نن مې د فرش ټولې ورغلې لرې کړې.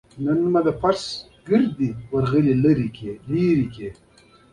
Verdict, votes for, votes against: accepted, 2, 0